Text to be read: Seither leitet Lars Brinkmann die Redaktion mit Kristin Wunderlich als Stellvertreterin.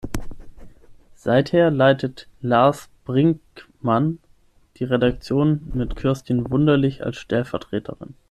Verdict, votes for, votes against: rejected, 0, 6